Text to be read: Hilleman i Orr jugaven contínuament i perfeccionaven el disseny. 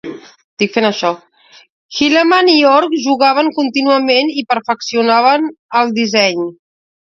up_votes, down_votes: 0, 2